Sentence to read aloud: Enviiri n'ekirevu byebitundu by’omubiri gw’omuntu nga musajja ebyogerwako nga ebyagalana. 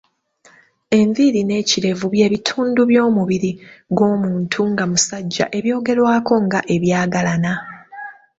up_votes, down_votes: 2, 0